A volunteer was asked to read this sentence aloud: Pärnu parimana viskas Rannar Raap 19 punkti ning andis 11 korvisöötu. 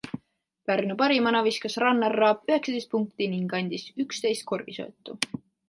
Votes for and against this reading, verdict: 0, 2, rejected